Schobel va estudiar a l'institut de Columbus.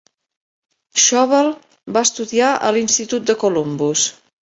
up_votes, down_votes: 2, 0